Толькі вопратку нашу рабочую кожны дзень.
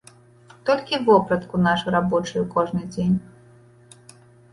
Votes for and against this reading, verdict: 1, 2, rejected